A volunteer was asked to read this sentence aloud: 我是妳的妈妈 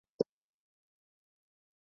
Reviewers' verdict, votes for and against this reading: rejected, 2, 3